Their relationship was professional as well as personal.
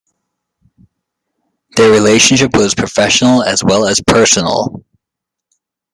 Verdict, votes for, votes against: accepted, 2, 0